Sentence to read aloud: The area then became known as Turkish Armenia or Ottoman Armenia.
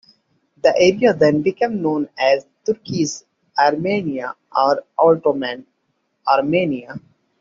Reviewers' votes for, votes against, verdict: 1, 2, rejected